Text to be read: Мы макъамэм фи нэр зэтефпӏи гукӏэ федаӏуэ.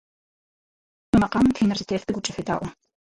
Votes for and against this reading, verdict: 2, 4, rejected